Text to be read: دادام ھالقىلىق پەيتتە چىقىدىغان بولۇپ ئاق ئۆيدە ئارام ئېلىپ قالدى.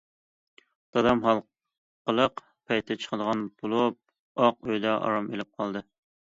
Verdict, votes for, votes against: accepted, 2, 0